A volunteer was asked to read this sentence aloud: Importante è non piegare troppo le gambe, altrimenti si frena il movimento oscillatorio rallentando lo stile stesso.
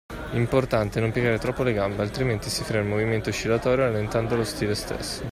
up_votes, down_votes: 2, 1